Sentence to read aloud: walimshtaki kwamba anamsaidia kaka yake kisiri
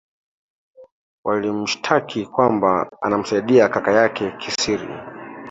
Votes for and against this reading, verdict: 3, 1, accepted